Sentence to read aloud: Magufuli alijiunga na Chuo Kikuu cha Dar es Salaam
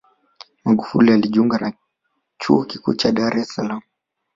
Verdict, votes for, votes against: accepted, 2, 0